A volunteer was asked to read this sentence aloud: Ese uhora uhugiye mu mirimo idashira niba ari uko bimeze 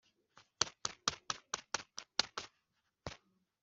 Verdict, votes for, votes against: rejected, 0, 4